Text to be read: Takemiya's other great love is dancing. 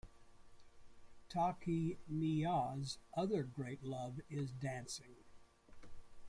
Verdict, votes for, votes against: rejected, 0, 2